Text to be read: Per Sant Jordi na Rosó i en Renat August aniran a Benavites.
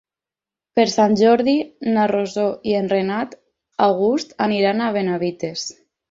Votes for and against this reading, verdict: 4, 0, accepted